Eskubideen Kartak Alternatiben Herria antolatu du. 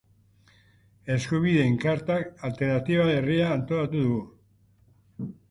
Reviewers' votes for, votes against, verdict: 1, 2, rejected